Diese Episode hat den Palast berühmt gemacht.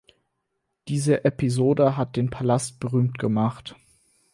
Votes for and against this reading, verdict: 4, 0, accepted